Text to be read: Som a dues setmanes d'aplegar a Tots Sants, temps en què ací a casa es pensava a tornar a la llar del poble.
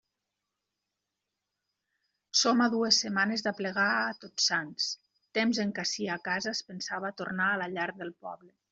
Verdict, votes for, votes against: accepted, 2, 0